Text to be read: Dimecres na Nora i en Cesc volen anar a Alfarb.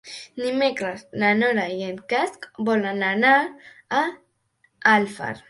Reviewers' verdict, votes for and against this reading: rejected, 1, 4